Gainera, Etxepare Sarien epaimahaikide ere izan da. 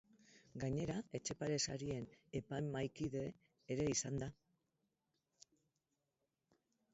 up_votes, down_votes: 0, 4